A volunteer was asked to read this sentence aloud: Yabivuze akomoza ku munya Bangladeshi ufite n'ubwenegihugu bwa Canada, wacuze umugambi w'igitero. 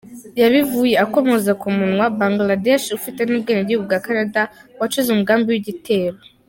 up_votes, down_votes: 0, 3